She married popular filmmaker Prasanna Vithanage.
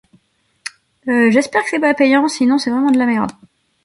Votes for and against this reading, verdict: 0, 2, rejected